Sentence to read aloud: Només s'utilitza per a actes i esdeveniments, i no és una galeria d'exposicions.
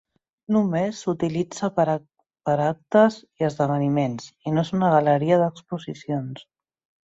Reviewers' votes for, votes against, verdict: 0, 2, rejected